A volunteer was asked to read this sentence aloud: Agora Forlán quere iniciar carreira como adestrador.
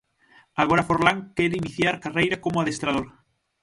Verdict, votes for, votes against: rejected, 3, 9